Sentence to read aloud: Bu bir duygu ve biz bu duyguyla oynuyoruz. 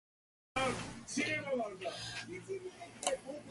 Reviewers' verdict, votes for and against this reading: rejected, 0, 2